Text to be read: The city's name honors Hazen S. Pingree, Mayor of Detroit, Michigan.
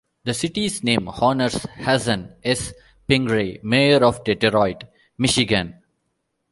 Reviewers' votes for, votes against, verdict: 2, 1, accepted